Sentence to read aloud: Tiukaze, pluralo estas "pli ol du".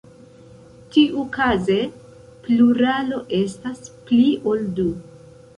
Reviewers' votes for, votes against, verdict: 1, 2, rejected